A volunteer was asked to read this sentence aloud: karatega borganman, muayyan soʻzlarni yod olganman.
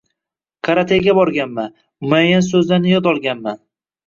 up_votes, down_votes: 1, 2